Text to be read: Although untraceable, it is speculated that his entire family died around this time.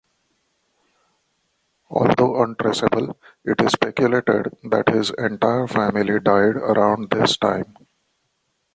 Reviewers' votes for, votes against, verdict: 0, 2, rejected